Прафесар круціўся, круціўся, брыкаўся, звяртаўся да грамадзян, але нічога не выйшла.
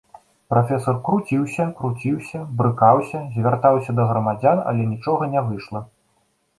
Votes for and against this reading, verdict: 2, 0, accepted